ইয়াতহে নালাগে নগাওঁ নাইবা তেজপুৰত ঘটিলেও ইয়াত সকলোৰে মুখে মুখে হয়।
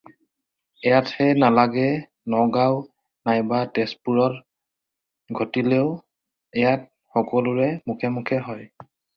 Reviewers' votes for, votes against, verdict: 4, 0, accepted